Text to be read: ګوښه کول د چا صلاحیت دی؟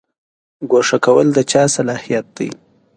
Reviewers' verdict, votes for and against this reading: accepted, 2, 0